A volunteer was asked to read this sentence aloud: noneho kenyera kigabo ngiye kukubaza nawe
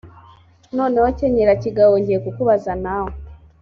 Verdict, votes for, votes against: accepted, 2, 0